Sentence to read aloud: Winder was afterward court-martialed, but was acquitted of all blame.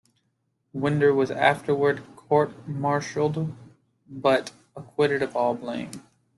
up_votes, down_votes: 2, 1